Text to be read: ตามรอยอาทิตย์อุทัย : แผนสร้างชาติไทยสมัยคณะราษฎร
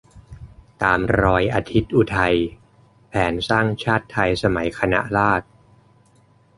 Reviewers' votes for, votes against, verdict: 1, 2, rejected